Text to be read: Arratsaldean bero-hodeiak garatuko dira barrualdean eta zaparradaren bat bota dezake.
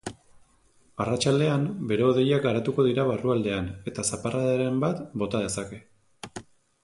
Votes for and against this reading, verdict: 2, 0, accepted